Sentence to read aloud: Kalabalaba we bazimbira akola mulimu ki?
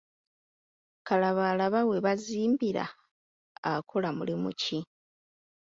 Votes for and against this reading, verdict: 2, 1, accepted